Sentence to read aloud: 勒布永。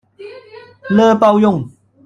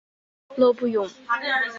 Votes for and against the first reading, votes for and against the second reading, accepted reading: 1, 2, 5, 0, second